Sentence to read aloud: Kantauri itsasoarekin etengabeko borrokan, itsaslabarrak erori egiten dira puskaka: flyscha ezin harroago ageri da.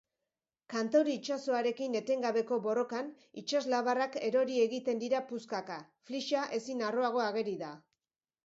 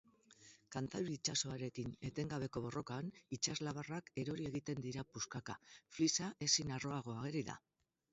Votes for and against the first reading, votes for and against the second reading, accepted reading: 4, 0, 2, 4, first